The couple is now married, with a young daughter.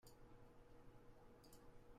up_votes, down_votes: 0, 2